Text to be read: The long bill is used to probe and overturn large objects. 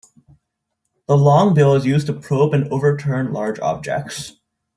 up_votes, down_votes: 2, 0